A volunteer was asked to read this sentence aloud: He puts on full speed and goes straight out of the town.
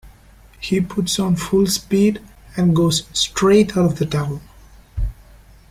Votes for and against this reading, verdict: 2, 1, accepted